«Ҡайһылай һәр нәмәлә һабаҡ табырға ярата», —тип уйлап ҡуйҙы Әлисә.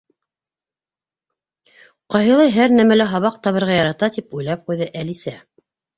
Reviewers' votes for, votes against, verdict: 3, 0, accepted